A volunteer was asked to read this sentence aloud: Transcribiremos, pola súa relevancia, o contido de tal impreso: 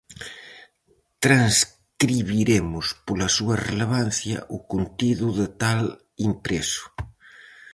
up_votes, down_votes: 2, 2